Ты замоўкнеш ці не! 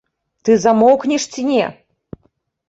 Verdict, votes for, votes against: accepted, 2, 0